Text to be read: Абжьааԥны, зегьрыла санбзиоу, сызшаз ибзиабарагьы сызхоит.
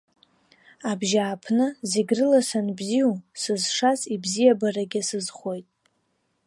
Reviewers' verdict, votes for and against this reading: accepted, 2, 0